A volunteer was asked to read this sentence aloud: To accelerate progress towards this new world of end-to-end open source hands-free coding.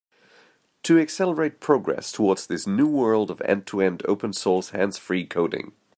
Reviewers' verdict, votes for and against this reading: accepted, 3, 0